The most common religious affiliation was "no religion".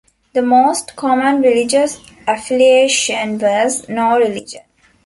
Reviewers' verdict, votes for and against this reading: accepted, 2, 1